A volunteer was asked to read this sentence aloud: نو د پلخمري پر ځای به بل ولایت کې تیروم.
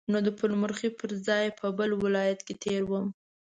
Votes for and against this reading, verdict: 0, 2, rejected